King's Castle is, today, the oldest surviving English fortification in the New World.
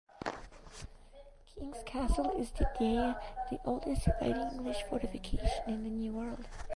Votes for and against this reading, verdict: 2, 1, accepted